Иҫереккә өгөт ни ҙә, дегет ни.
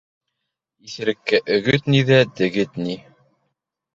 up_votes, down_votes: 2, 0